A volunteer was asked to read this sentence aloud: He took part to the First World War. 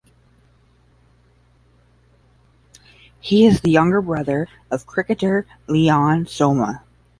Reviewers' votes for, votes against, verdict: 0, 10, rejected